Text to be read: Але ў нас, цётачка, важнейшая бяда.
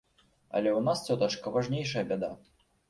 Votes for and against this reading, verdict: 2, 0, accepted